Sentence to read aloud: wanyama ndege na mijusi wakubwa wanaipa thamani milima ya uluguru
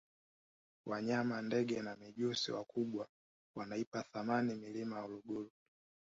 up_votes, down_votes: 1, 2